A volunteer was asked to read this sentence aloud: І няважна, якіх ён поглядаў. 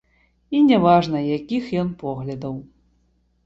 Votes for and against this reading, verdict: 2, 0, accepted